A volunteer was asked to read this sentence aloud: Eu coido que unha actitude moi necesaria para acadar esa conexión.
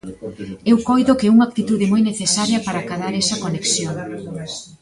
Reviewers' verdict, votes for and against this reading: rejected, 0, 2